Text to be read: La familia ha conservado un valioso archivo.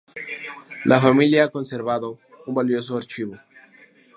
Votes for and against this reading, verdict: 2, 0, accepted